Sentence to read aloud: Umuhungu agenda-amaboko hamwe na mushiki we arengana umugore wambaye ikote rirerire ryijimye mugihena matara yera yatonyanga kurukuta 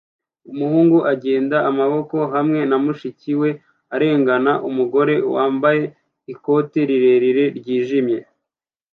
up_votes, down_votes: 0, 2